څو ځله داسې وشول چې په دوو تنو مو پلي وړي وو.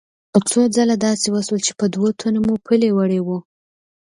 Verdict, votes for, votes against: accepted, 2, 0